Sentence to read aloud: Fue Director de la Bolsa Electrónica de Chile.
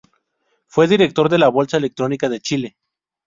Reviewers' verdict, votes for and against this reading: accepted, 2, 0